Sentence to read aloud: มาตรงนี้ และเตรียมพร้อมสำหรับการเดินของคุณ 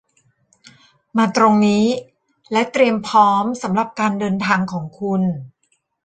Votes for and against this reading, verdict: 1, 2, rejected